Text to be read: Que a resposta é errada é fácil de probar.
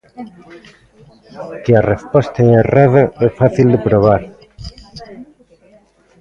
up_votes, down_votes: 1, 2